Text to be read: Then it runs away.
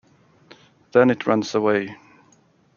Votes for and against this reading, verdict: 1, 2, rejected